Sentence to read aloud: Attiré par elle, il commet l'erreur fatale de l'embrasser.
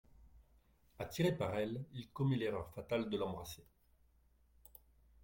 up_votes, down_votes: 2, 0